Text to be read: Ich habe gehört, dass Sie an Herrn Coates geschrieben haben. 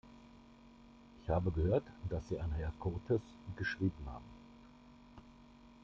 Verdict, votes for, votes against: accepted, 2, 0